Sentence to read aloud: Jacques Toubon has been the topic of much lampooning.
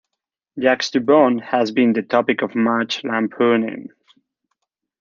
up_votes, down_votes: 0, 2